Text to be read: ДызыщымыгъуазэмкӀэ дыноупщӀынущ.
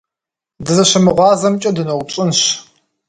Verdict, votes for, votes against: rejected, 1, 2